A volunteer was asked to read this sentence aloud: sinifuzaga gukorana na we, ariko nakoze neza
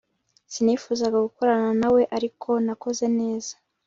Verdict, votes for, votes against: accepted, 3, 0